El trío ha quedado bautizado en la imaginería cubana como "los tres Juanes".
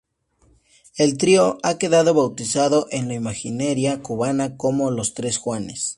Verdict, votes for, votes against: rejected, 0, 2